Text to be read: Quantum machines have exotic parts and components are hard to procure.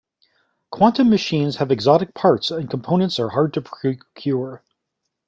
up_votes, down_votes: 0, 2